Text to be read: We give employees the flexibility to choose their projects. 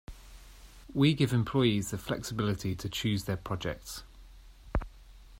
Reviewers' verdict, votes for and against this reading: accepted, 2, 0